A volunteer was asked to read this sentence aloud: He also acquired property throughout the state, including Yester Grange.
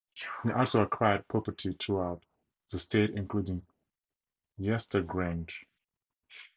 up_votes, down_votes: 2, 2